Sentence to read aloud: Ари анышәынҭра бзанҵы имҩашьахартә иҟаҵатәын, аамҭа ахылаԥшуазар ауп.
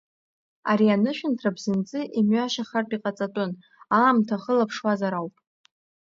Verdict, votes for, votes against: accepted, 2, 0